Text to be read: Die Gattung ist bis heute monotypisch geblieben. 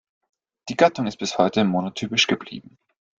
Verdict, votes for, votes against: accepted, 2, 0